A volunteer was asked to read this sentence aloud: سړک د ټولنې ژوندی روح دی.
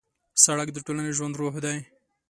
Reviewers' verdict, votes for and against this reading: accepted, 2, 1